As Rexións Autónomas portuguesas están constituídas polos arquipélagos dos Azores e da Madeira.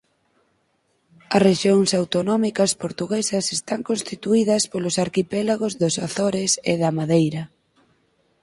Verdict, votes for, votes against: rejected, 0, 4